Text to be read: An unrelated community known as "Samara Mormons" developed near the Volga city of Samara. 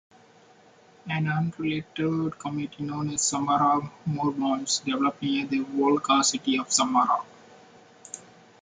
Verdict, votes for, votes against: rejected, 0, 2